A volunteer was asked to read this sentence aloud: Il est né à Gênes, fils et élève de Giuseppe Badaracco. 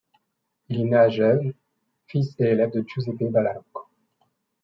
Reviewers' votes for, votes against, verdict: 0, 2, rejected